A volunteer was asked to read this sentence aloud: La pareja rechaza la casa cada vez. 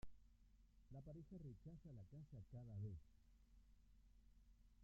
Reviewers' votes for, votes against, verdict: 0, 2, rejected